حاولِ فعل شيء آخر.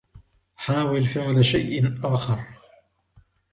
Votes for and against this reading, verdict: 3, 0, accepted